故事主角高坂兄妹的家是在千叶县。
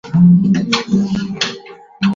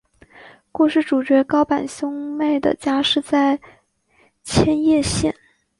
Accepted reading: second